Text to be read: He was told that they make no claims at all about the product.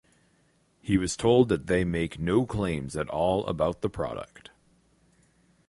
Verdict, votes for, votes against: accepted, 4, 0